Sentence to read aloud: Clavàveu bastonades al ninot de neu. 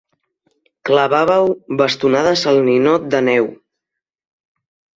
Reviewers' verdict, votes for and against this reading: accepted, 3, 0